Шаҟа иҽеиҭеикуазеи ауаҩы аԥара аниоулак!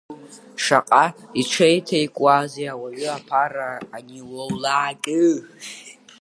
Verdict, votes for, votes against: rejected, 0, 2